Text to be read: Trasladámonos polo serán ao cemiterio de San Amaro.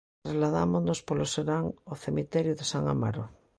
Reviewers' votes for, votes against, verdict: 2, 0, accepted